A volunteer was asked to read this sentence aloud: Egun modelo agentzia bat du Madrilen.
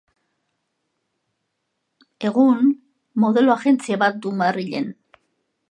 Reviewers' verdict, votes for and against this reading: accepted, 2, 0